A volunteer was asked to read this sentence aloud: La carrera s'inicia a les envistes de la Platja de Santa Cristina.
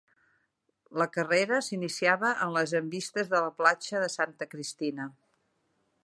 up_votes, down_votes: 1, 2